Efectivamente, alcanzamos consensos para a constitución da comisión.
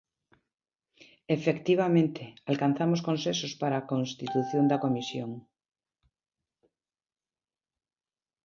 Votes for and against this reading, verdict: 0, 2, rejected